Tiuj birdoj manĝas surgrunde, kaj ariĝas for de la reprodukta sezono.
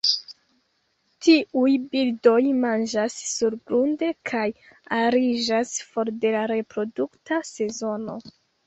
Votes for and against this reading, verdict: 1, 2, rejected